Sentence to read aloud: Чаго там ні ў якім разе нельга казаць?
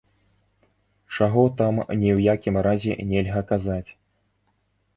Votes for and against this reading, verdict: 1, 2, rejected